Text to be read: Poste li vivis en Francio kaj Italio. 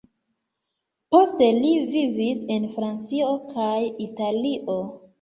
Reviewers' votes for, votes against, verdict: 1, 2, rejected